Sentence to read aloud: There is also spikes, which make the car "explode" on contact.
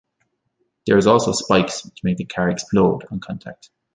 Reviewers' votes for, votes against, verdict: 2, 0, accepted